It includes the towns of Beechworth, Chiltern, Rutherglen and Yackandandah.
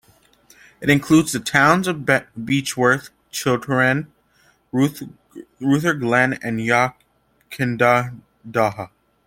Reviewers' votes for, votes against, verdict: 0, 2, rejected